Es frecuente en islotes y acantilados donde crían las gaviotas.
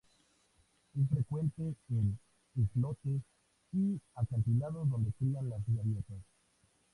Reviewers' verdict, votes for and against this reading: rejected, 0, 2